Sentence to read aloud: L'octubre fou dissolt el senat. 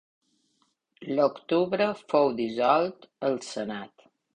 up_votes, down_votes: 2, 0